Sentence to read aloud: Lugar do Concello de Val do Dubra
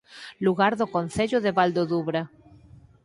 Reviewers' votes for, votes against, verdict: 4, 0, accepted